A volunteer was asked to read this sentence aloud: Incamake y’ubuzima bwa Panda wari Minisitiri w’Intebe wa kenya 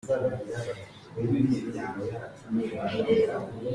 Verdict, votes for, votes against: rejected, 0, 2